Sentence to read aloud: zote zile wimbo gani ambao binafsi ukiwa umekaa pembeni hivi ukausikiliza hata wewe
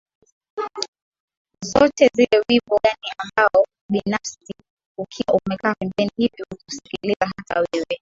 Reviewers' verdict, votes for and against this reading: accepted, 2, 1